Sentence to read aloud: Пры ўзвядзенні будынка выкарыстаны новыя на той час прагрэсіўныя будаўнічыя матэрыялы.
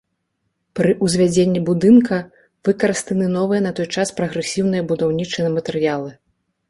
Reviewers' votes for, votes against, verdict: 2, 0, accepted